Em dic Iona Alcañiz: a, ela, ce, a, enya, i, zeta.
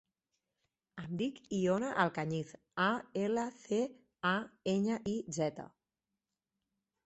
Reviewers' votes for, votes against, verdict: 2, 4, rejected